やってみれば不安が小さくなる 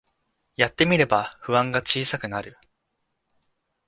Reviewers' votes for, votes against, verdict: 2, 0, accepted